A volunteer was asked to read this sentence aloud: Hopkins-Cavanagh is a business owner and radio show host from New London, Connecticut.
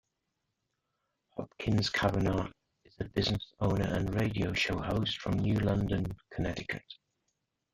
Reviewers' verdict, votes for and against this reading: rejected, 0, 2